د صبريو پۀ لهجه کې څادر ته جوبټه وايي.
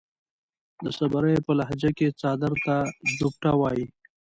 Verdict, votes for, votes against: accepted, 2, 0